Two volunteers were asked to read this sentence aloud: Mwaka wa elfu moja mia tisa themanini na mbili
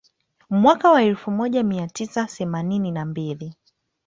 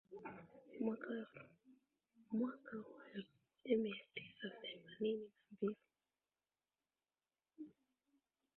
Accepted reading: second